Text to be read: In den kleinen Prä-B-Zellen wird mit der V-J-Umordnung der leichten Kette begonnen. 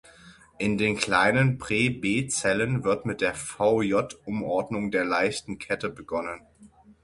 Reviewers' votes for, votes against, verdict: 6, 0, accepted